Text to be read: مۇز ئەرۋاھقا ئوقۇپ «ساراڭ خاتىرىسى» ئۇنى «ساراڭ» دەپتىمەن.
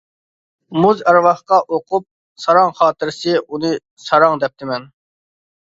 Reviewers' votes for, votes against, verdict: 2, 0, accepted